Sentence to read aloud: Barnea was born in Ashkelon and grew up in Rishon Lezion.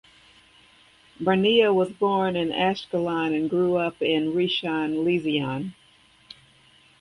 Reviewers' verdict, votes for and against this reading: accepted, 2, 0